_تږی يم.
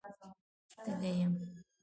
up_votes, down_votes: 2, 1